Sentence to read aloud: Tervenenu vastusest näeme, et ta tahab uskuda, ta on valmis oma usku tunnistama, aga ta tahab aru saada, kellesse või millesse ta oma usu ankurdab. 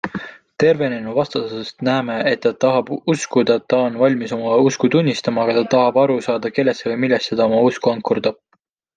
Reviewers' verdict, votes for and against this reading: accepted, 2, 0